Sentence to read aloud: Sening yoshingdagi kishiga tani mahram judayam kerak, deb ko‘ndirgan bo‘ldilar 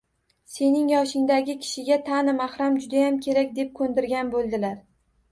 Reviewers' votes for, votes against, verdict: 2, 0, accepted